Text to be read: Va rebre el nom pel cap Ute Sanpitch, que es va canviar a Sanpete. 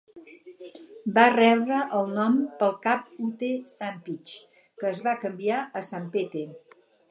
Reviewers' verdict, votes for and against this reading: accepted, 4, 2